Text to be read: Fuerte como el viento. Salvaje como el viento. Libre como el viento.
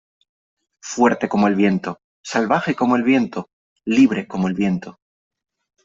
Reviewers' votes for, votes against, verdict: 3, 0, accepted